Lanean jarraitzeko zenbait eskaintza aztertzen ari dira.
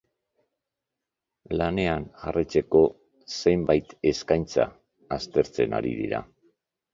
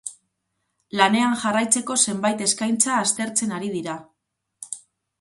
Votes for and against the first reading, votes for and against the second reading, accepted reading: 1, 2, 2, 0, second